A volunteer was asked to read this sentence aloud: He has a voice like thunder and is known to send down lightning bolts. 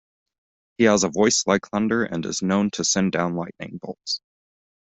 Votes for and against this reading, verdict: 2, 0, accepted